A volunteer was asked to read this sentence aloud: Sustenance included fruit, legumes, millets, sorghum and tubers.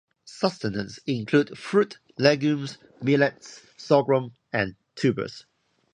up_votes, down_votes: 0, 2